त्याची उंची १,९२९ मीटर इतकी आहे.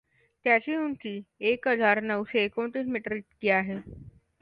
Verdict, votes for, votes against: rejected, 0, 2